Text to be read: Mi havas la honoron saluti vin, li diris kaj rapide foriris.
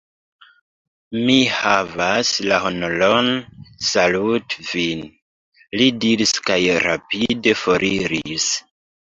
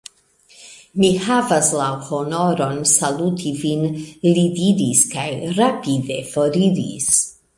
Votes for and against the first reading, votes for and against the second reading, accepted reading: 1, 3, 2, 0, second